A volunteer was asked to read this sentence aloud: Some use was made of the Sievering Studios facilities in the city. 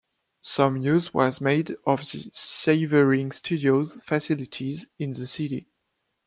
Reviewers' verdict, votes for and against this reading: rejected, 0, 2